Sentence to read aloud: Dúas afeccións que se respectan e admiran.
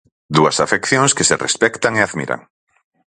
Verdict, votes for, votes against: accepted, 4, 0